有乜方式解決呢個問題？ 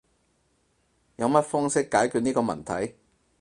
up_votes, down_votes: 4, 0